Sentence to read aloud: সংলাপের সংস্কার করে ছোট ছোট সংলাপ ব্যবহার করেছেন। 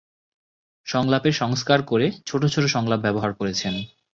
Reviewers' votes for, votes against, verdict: 2, 0, accepted